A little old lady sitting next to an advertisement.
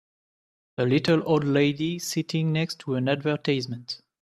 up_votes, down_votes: 0, 2